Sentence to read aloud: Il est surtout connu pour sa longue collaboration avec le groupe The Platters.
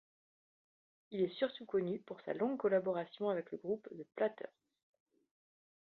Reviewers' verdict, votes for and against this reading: rejected, 1, 2